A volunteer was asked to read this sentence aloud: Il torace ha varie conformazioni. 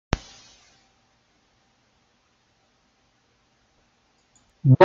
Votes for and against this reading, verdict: 0, 2, rejected